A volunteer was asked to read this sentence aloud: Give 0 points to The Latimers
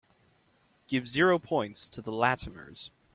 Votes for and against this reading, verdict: 0, 2, rejected